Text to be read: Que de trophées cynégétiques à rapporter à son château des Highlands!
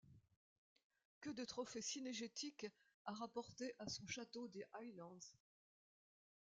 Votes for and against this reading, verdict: 0, 2, rejected